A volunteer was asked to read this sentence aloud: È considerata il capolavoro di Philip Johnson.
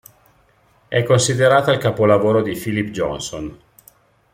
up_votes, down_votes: 2, 0